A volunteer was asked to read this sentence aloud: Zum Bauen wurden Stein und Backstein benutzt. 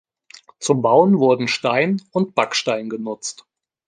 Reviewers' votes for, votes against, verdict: 1, 2, rejected